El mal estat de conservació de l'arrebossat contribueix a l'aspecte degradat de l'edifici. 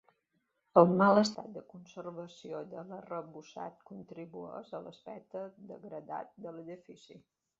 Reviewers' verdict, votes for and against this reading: rejected, 1, 2